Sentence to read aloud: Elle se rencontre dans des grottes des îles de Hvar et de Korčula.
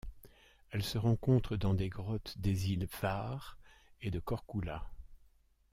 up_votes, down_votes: 1, 2